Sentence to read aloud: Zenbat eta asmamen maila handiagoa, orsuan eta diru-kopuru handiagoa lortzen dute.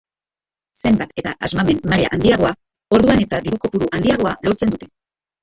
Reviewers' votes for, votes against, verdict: 0, 2, rejected